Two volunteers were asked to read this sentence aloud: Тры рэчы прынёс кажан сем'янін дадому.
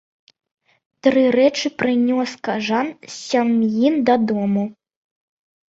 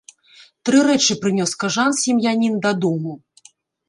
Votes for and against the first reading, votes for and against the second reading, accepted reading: 0, 2, 2, 0, second